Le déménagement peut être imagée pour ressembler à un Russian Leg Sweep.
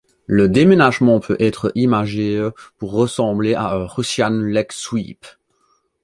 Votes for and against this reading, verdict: 0, 2, rejected